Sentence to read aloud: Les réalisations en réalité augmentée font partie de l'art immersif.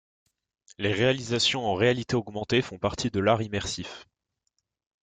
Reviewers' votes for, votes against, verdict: 2, 0, accepted